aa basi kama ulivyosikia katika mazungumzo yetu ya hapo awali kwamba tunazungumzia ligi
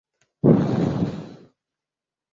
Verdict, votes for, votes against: rejected, 0, 2